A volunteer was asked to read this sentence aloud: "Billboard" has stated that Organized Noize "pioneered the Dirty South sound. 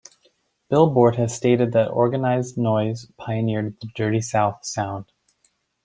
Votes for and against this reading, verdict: 2, 0, accepted